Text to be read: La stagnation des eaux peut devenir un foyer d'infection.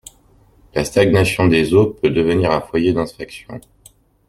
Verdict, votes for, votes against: rejected, 1, 2